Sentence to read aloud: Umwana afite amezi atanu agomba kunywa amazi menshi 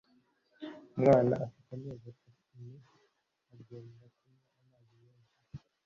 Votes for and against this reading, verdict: 0, 2, rejected